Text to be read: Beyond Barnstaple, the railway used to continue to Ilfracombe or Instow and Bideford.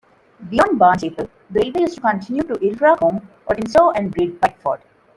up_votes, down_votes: 1, 2